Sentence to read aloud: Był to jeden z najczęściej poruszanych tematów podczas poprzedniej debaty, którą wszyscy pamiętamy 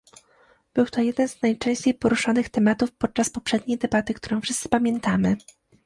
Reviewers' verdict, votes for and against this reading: accepted, 2, 0